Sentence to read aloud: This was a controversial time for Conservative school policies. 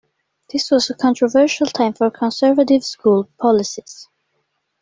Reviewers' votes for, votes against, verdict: 2, 0, accepted